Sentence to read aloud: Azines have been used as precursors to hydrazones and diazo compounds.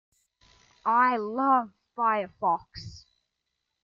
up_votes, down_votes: 0, 2